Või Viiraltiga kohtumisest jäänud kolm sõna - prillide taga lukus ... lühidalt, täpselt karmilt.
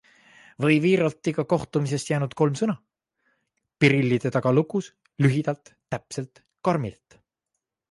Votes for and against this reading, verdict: 2, 0, accepted